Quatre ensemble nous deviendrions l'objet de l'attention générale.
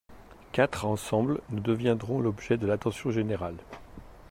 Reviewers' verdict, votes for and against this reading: rejected, 0, 2